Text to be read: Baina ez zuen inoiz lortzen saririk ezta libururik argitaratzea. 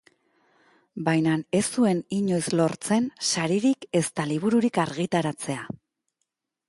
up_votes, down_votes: 2, 2